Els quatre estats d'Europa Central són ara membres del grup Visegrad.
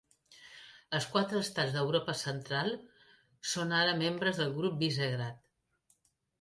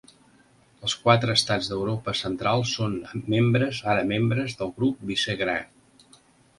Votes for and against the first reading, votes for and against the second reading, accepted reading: 2, 0, 0, 2, first